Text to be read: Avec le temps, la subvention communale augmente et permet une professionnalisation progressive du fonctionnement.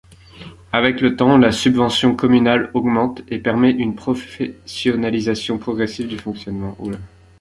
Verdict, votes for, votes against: rejected, 0, 2